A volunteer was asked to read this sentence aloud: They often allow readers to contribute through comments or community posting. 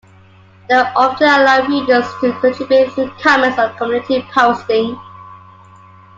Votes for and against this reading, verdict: 2, 1, accepted